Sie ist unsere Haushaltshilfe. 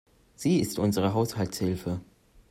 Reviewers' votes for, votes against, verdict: 2, 0, accepted